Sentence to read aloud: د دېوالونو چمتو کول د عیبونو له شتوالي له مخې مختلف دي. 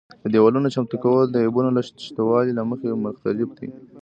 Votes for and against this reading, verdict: 0, 2, rejected